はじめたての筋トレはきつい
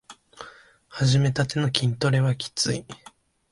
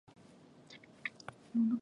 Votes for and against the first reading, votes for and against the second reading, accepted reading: 2, 0, 1, 2, first